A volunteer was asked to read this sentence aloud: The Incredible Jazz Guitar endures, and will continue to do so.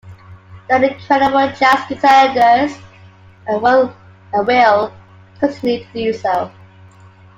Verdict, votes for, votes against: rejected, 0, 3